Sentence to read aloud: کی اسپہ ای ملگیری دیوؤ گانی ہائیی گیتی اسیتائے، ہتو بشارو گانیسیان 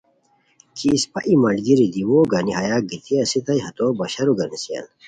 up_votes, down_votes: 2, 0